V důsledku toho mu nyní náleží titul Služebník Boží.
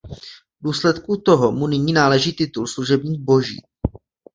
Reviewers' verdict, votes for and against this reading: accepted, 2, 0